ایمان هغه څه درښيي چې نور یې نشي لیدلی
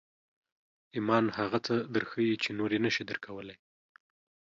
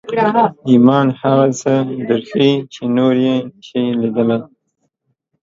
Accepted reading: second